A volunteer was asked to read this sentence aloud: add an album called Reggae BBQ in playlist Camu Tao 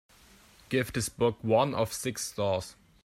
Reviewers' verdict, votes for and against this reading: rejected, 0, 2